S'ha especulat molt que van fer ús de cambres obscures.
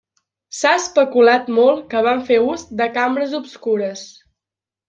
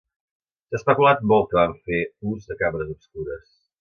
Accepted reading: first